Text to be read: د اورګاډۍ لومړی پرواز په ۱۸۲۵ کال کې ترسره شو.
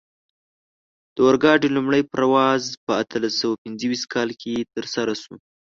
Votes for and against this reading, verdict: 0, 2, rejected